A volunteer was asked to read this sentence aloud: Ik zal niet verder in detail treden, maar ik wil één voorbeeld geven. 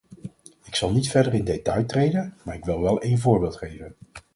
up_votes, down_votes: 2, 4